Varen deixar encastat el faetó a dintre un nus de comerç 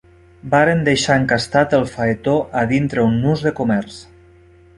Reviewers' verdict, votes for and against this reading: accepted, 3, 0